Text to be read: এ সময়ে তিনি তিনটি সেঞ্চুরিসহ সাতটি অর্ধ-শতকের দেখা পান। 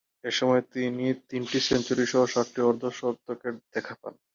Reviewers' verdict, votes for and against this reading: rejected, 0, 2